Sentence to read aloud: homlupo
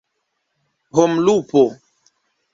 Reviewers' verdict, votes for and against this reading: accepted, 2, 0